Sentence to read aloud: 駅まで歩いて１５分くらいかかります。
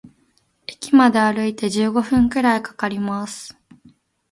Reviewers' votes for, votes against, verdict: 0, 2, rejected